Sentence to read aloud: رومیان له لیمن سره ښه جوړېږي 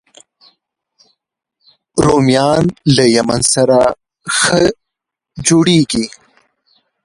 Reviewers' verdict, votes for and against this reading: rejected, 1, 2